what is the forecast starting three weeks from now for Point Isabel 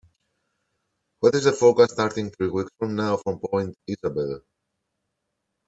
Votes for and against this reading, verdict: 1, 2, rejected